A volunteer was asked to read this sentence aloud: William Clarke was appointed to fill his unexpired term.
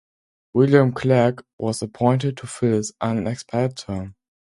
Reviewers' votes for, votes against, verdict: 2, 0, accepted